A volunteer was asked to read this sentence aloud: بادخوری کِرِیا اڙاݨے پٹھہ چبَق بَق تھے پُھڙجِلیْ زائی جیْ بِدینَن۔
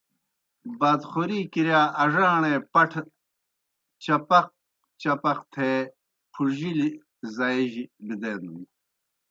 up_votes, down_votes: 0, 2